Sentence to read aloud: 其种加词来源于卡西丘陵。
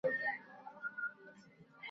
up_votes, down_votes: 0, 3